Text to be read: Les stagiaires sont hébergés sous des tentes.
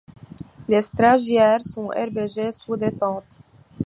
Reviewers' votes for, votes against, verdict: 1, 2, rejected